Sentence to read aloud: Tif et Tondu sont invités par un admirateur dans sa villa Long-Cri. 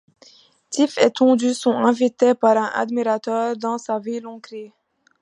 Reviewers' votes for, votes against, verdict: 0, 2, rejected